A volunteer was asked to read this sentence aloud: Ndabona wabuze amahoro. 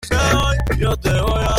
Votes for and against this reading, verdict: 0, 3, rejected